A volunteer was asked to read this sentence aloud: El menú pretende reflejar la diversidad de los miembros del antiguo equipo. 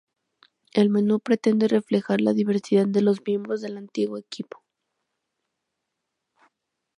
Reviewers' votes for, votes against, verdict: 2, 0, accepted